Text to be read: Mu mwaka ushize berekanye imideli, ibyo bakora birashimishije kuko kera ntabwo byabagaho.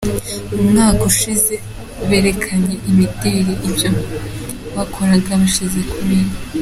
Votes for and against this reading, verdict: 0, 2, rejected